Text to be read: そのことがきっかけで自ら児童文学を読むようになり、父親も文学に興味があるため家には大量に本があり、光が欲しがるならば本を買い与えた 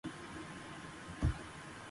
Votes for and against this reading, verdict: 0, 3, rejected